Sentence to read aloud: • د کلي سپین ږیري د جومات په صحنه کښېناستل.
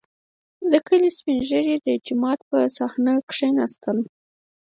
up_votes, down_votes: 0, 4